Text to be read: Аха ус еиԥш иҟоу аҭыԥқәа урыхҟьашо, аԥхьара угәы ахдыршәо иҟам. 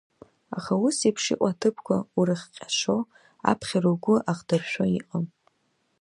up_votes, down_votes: 1, 2